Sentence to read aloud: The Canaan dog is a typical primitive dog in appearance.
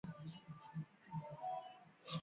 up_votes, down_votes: 0, 2